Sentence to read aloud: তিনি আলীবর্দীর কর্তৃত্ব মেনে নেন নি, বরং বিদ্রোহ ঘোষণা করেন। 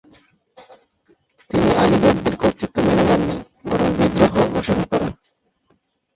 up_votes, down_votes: 0, 3